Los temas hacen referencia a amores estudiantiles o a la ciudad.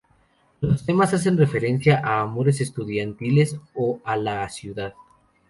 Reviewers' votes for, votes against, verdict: 2, 0, accepted